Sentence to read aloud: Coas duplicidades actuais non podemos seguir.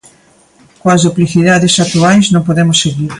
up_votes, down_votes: 2, 0